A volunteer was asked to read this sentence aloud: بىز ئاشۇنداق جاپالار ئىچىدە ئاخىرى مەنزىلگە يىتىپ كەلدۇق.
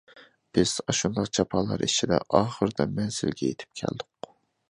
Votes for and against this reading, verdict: 0, 2, rejected